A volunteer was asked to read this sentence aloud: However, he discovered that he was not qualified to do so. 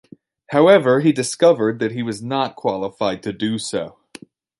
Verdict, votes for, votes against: accepted, 2, 0